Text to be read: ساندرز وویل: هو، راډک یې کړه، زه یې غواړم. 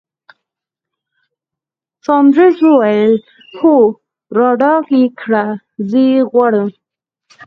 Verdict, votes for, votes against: rejected, 2, 4